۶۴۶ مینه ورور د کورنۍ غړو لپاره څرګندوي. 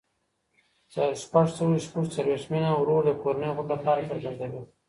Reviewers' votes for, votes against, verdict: 0, 2, rejected